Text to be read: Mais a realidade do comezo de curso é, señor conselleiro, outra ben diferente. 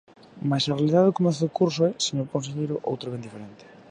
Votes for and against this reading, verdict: 2, 0, accepted